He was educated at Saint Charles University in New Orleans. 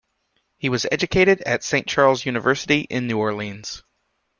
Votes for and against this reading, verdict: 2, 0, accepted